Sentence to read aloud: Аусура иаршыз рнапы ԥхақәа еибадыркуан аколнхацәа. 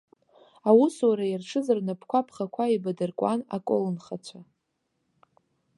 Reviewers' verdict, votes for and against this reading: rejected, 0, 2